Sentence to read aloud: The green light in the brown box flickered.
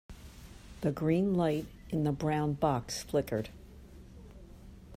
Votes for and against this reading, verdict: 2, 0, accepted